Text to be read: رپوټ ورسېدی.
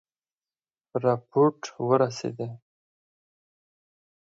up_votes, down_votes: 4, 0